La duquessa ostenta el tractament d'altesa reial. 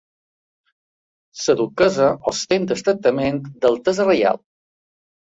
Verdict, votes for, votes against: accepted, 2, 1